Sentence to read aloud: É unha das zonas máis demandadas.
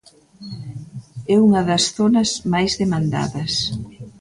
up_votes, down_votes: 1, 2